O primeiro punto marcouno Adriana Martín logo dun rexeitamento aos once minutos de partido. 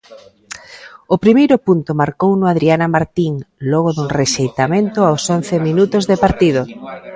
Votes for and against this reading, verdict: 0, 2, rejected